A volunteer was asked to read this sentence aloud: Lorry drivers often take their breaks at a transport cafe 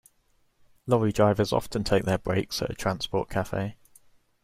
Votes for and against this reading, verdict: 2, 0, accepted